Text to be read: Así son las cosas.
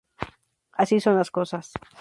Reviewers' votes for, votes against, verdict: 0, 2, rejected